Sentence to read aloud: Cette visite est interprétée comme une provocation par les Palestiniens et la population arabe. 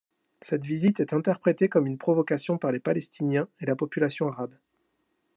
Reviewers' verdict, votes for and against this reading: accepted, 2, 0